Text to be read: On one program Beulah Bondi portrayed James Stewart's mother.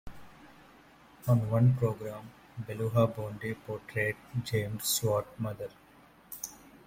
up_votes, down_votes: 2, 0